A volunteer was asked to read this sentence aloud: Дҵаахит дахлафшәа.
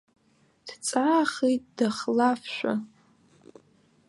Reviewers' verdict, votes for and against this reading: rejected, 1, 2